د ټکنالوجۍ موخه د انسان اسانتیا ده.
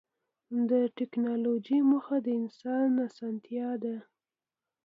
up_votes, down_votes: 2, 0